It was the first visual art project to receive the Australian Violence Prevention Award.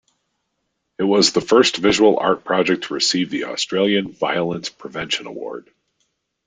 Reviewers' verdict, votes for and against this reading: accepted, 2, 0